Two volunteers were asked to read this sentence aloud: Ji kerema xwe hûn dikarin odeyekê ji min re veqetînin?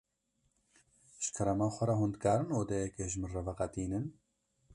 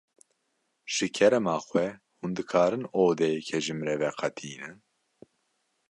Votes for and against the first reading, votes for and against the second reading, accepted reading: 0, 2, 2, 0, second